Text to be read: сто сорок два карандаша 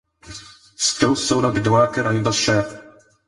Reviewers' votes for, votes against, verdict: 2, 4, rejected